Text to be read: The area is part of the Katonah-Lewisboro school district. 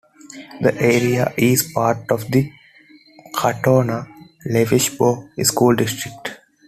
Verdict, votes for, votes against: accepted, 2, 0